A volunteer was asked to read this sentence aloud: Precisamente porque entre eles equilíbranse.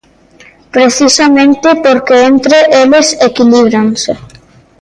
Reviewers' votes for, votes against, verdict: 2, 0, accepted